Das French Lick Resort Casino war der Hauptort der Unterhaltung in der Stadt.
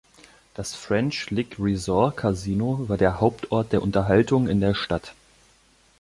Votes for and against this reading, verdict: 2, 0, accepted